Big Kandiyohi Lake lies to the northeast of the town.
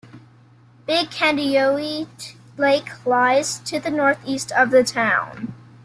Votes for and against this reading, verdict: 0, 2, rejected